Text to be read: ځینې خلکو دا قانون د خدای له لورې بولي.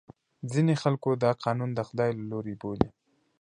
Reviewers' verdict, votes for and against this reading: accepted, 2, 0